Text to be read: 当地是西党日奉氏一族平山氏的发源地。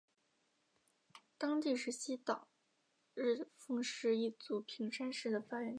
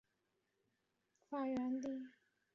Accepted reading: first